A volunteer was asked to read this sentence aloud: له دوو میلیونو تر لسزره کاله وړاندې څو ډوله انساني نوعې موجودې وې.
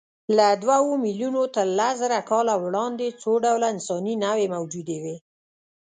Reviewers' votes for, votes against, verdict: 1, 2, rejected